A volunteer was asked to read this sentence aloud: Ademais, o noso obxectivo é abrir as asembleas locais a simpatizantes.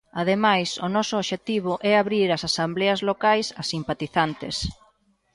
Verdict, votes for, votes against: rejected, 0, 2